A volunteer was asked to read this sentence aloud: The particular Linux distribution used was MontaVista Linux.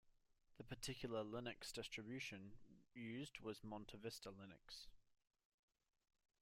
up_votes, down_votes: 2, 1